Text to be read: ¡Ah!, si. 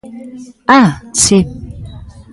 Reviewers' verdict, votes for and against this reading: rejected, 1, 2